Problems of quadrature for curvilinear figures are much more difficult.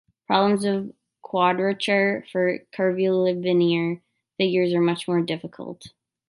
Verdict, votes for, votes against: accepted, 2, 1